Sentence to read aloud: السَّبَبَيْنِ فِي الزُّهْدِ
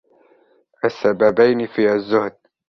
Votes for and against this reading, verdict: 1, 2, rejected